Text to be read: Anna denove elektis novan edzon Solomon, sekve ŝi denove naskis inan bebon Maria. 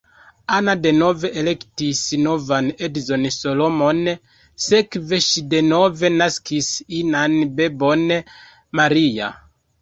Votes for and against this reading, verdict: 1, 2, rejected